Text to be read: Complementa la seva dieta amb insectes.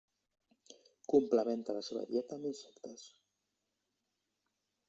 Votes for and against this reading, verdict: 1, 2, rejected